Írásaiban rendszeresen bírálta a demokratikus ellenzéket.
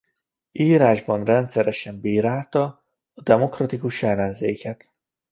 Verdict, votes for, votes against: rejected, 1, 2